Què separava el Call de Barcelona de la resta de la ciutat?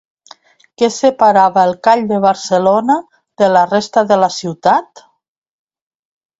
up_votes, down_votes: 2, 0